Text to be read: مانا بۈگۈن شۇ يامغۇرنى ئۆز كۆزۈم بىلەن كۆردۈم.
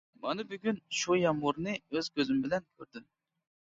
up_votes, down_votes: 2, 0